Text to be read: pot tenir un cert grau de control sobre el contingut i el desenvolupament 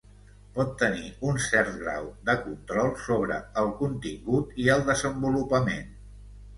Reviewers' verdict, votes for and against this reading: accepted, 3, 0